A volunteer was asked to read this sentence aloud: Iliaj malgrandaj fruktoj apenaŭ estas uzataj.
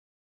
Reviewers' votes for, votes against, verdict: 1, 2, rejected